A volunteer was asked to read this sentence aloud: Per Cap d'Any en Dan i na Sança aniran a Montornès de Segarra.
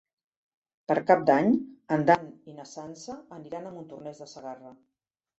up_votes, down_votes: 0, 2